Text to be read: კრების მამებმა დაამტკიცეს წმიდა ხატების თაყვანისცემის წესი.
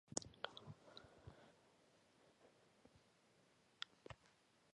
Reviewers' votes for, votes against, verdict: 1, 2, rejected